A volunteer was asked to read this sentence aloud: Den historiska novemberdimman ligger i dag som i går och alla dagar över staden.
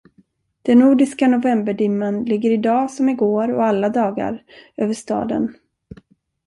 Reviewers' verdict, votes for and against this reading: rejected, 1, 2